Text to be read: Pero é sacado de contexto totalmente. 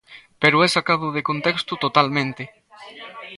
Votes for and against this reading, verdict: 1, 2, rejected